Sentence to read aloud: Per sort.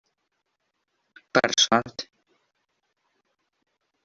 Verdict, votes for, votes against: rejected, 0, 2